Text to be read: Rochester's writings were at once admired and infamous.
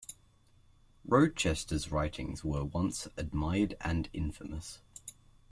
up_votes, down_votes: 2, 0